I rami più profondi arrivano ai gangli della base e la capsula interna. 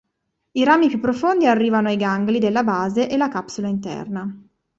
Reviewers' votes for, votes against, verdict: 2, 0, accepted